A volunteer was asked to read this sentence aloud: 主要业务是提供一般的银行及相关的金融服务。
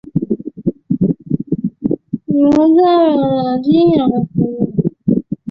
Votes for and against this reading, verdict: 0, 4, rejected